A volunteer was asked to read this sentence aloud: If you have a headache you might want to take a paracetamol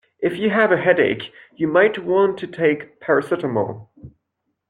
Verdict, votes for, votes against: accepted, 2, 1